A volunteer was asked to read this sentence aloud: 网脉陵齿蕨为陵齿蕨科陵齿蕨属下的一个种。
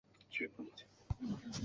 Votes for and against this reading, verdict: 0, 2, rejected